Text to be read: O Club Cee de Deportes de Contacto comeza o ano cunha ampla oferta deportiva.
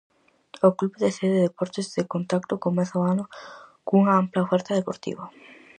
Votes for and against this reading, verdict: 0, 4, rejected